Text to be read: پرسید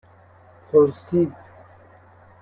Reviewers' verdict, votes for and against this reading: accepted, 2, 0